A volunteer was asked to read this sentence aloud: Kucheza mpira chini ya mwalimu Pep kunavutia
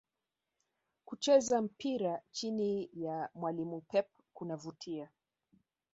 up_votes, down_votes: 1, 2